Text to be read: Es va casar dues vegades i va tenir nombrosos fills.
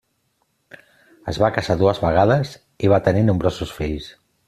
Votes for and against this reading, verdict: 3, 0, accepted